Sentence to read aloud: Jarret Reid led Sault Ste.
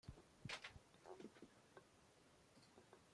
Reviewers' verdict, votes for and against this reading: rejected, 1, 2